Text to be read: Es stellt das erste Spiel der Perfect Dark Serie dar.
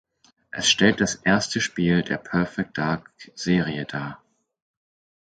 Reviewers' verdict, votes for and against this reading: accepted, 4, 0